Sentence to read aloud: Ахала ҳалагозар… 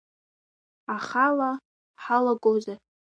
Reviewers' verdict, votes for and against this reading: accepted, 2, 1